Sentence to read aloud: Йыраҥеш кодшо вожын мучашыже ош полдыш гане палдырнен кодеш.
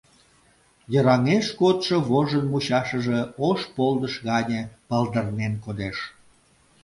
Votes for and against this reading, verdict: 2, 0, accepted